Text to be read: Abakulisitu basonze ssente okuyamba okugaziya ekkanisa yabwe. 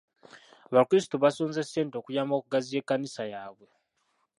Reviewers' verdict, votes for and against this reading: rejected, 0, 2